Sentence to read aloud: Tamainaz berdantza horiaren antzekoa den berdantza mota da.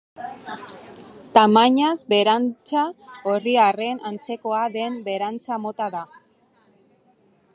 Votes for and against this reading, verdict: 0, 3, rejected